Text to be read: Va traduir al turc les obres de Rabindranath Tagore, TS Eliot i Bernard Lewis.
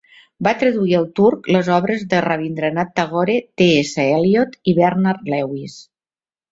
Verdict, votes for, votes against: accepted, 3, 1